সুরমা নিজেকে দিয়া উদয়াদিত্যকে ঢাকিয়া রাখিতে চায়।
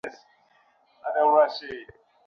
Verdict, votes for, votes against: rejected, 0, 2